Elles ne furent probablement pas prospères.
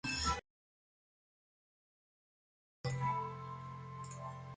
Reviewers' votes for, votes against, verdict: 0, 2, rejected